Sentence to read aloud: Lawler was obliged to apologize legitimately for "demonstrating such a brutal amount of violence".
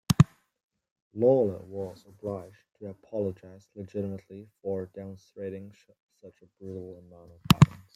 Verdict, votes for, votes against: accepted, 2, 0